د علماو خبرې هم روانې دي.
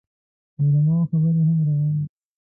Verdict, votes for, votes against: rejected, 1, 2